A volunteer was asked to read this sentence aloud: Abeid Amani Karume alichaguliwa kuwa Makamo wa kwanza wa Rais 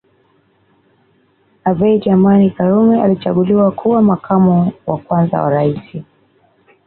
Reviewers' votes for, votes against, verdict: 2, 0, accepted